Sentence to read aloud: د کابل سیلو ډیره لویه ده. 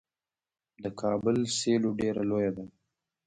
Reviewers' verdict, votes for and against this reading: rejected, 1, 2